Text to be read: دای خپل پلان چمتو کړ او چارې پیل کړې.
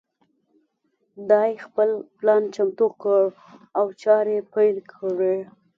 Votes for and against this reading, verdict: 2, 0, accepted